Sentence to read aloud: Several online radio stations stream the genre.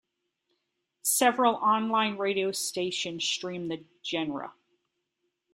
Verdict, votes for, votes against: rejected, 1, 2